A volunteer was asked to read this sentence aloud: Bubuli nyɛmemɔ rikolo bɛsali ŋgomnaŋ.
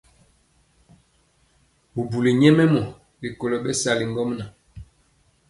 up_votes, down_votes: 2, 0